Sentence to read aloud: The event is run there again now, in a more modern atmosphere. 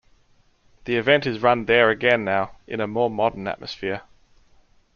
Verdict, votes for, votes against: accepted, 2, 0